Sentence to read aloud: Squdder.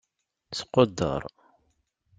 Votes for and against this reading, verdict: 2, 0, accepted